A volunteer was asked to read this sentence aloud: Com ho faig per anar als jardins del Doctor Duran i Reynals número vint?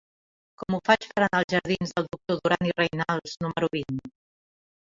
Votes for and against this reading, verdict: 0, 2, rejected